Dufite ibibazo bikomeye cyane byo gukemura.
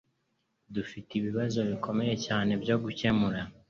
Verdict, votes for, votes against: accepted, 2, 0